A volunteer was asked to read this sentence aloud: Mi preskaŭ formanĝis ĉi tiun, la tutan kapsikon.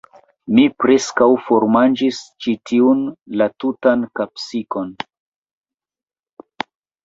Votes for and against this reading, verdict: 2, 1, accepted